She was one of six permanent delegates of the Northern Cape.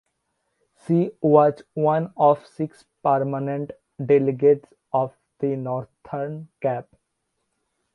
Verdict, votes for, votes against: rejected, 1, 2